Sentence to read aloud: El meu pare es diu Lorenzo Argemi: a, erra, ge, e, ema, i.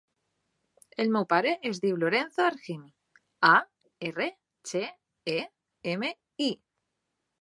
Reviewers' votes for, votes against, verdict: 0, 2, rejected